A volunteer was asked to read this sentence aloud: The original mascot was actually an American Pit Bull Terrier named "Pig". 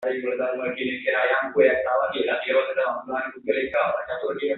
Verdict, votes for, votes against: rejected, 0, 2